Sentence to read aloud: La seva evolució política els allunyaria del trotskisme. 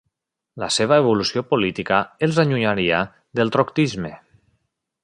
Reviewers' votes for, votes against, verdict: 0, 2, rejected